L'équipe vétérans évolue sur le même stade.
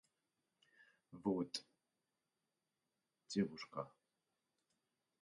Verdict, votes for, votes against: rejected, 0, 2